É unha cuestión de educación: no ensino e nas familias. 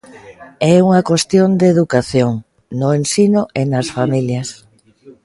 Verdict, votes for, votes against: accepted, 2, 0